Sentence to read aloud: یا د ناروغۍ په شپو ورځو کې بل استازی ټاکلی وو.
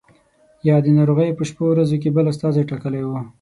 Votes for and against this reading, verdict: 6, 0, accepted